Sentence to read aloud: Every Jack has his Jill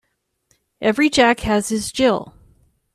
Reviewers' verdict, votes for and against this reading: accepted, 2, 1